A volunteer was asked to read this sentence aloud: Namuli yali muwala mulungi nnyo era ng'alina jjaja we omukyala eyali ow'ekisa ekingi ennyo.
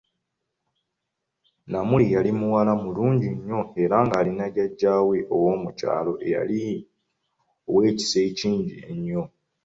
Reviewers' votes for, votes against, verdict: 0, 2, rejected